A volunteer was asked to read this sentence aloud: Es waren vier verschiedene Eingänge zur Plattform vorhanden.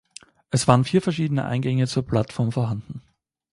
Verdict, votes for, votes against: accepted, 2, 0